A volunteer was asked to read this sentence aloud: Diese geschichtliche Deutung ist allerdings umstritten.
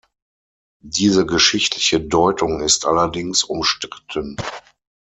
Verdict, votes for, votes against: accepted, 6, 0